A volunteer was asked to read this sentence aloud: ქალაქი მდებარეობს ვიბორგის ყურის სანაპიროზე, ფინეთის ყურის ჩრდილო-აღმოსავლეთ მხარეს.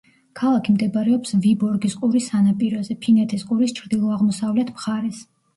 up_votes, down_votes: 1, 2